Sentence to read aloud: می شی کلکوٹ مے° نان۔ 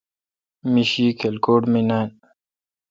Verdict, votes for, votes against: accepted, 2, 0